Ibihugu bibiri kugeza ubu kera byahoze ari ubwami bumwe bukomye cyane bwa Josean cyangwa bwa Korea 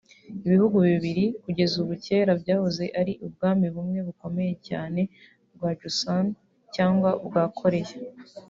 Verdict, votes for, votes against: rejected, 1, 2